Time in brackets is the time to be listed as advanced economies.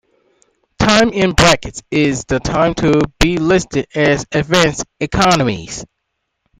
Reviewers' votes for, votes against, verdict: 2, 0, accepted